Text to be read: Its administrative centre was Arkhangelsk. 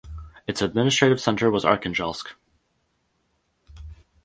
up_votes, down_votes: 4, 0